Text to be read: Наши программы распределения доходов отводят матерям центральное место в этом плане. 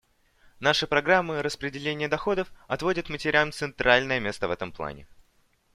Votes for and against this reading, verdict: 2, 0, accepted